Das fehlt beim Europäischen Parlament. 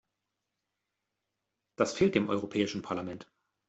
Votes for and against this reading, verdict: 0, 2, rejected